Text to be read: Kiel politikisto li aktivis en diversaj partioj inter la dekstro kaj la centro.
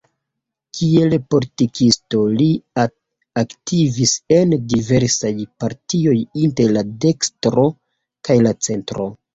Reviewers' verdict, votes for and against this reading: rejected, 1, 2